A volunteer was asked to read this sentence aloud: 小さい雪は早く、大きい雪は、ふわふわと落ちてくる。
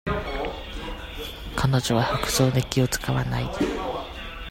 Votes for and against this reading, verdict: 0, 2, rejected